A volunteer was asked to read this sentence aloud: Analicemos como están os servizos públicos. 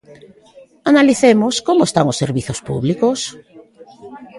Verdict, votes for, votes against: accepted, 2, 0